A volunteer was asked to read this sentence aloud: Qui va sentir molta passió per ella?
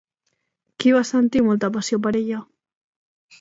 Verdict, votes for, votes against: accepted, 2, 0